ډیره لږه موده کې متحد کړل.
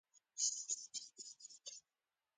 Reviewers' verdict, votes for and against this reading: accepted, 2, 0